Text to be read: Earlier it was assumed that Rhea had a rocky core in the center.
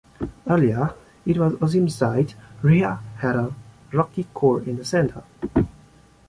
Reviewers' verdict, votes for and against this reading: accepted, 3, 1